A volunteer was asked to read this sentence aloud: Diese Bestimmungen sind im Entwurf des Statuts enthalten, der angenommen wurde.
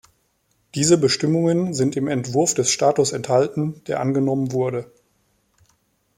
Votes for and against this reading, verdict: 1, 2, rejected